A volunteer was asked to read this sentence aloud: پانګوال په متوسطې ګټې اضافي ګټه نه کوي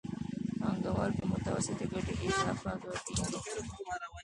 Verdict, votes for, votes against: rejected, 1, 2